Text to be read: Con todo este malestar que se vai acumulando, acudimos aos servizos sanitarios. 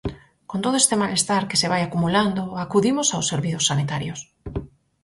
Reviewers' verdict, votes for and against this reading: accepted, 4, 0